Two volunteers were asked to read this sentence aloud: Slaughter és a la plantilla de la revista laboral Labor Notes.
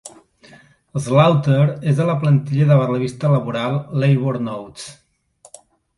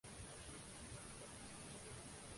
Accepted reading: first